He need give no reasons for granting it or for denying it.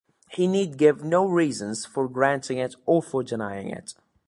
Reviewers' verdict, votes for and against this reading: accepted, 2, 0